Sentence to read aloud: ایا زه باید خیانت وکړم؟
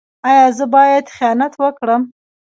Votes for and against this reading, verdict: 1, 2, rejected